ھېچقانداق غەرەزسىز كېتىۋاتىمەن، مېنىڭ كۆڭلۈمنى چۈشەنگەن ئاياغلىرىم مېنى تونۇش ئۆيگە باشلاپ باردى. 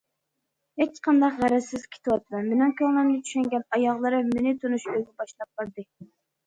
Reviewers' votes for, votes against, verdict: 0, 2, rejected